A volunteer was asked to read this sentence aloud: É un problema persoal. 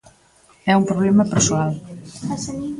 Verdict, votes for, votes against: accepted, 2, 0